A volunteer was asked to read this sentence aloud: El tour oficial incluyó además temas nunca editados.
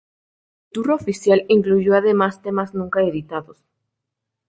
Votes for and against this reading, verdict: 0, 2, rejected